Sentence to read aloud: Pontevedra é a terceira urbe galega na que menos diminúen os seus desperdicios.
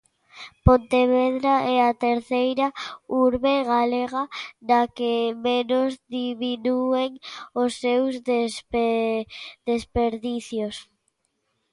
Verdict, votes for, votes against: rejected, 0, 2